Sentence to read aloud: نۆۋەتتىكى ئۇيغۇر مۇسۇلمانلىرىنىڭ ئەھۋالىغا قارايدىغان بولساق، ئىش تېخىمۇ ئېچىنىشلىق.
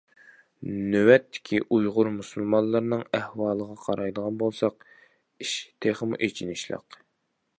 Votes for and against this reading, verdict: 2, 0, accepted